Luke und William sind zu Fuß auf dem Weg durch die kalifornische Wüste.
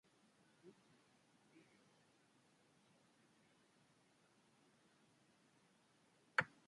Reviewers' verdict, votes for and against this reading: rejected, 0, 2